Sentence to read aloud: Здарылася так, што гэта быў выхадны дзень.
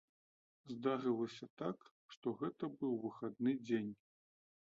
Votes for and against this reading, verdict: 2, 0, accepted